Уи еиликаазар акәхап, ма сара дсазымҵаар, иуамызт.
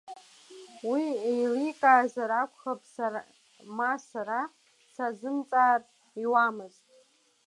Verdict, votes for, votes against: rejected, 0, 2